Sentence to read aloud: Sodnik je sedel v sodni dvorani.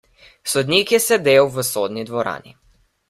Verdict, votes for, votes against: accepted, 2, 0